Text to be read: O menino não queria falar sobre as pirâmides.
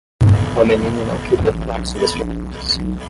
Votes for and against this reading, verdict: 0, 5, rejected